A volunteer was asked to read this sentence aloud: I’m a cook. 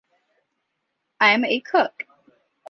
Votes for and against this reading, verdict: 2, 0, accepted